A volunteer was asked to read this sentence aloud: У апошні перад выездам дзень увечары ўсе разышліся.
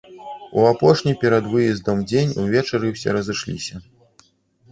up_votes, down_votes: 1, 2